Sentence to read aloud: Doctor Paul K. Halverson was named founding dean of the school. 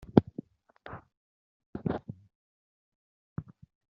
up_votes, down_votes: 0, 2